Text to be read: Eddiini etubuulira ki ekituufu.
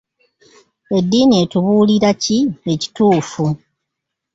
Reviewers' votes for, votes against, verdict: 2, 0, accepted